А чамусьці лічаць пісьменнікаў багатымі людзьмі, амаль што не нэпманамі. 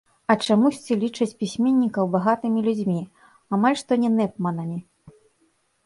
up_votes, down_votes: 2, 3